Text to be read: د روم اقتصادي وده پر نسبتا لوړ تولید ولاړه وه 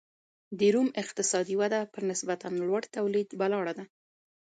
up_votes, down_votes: 1, 2